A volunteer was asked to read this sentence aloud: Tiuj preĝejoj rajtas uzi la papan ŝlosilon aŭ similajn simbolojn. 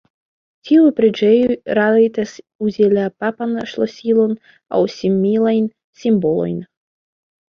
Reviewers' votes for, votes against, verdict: 0, 2, rejected